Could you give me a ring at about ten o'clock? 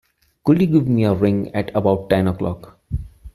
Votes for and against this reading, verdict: 2, 0, accepted